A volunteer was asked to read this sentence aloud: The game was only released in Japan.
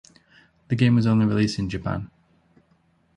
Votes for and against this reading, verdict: 2, 0, accepted